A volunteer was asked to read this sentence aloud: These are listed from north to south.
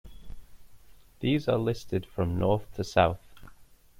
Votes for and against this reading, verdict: 2, 1, accepted